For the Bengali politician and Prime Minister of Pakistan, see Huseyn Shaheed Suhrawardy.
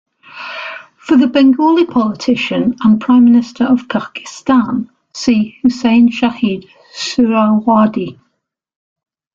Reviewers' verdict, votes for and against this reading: rejected, 1, 2